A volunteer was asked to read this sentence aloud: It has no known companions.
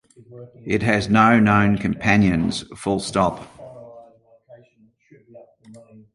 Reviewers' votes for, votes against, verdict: 0, 2, rejected